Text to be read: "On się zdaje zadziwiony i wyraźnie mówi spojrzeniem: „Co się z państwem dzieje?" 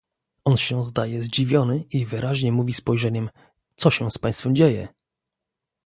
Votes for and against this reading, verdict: 0, 2, rejected